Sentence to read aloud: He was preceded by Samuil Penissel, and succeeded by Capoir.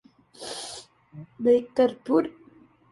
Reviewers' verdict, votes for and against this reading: rejected, 0, 2